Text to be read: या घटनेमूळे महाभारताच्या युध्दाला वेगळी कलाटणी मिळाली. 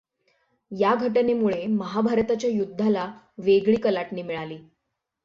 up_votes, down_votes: 6, 0